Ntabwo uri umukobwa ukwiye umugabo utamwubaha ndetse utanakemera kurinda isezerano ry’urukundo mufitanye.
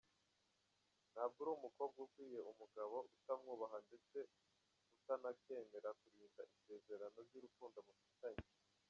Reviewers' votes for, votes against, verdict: 0, 2, rejected